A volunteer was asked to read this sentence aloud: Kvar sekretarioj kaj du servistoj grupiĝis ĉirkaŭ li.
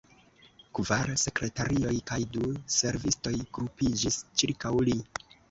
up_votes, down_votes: 0, 2